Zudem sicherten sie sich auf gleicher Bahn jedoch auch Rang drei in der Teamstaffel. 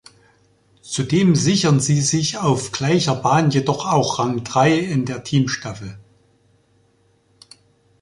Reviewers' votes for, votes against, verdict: 0, 2, rejected